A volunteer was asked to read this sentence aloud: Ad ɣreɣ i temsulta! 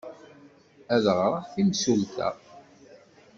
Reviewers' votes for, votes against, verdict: 1, 2, rejected